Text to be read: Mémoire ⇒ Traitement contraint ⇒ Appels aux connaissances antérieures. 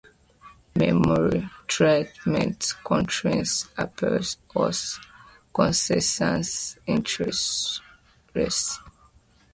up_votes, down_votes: 0, 2